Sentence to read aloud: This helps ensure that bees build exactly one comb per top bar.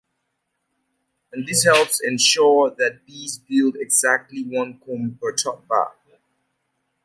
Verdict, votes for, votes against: accepted, 2, 0